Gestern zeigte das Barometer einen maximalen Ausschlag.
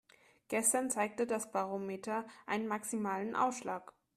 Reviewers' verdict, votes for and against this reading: accepted, 3, 0